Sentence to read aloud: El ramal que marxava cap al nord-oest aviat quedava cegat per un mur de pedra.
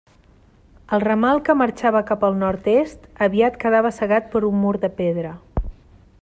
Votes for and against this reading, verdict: 0, 2, rejected